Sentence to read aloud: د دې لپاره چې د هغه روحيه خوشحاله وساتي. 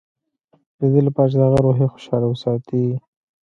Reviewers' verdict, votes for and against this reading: accepted, 2, 1